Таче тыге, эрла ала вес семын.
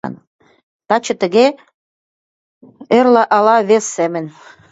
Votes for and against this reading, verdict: 2, 0, accepted